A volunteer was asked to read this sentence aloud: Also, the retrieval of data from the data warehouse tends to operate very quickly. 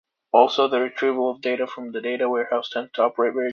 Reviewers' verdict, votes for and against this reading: rejected, 0, 2